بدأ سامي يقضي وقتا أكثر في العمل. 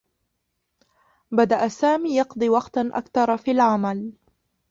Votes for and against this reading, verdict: 0, 2, rejected